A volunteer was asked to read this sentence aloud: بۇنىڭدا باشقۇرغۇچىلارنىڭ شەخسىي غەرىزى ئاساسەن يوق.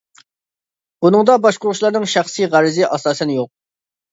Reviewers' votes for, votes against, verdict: 2, 0, accepted